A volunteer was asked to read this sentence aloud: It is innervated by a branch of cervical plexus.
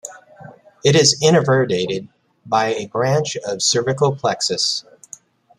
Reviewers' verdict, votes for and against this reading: rejected, 1, 2